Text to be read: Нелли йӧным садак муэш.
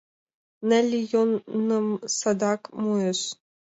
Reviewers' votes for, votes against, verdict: 2, 5, rejected